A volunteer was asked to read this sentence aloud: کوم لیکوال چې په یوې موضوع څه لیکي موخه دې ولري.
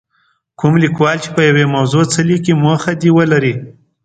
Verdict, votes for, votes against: accepted, 2, 0